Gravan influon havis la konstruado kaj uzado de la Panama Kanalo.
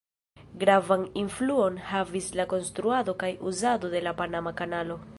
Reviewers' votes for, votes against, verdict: 0, 2, rejected